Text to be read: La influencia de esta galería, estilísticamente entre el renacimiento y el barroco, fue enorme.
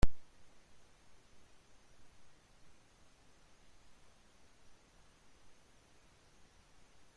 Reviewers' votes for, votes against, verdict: 0, 2, rejected